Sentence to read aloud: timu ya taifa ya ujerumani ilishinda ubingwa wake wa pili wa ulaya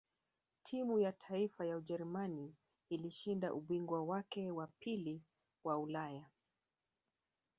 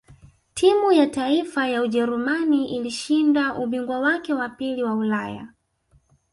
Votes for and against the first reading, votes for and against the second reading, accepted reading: 2, 0, 1, 2, first